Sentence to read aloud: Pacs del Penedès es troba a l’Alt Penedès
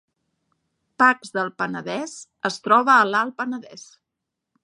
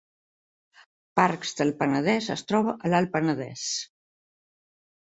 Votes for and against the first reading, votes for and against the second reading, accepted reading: 2, 0, 0, 2, first